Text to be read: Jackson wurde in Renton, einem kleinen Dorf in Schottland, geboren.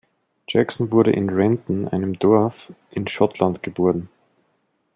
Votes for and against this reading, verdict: 0, 2, rejected